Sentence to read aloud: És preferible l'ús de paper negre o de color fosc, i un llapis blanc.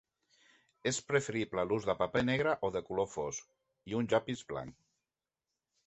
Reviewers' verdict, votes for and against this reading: accepted, 3, 0